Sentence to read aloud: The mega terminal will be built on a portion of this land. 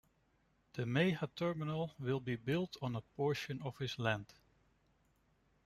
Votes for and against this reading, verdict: 1, 2, rejected